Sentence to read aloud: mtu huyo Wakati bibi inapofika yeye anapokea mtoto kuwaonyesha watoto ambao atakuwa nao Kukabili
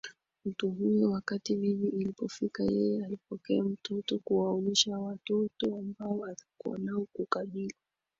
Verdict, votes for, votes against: accepted, 3, 1